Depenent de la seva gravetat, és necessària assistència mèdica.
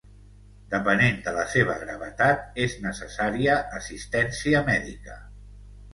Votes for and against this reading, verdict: 2, 1, accepted